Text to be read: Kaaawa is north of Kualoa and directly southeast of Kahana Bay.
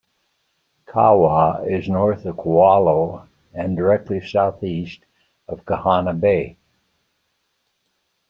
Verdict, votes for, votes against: accepted, 2, 0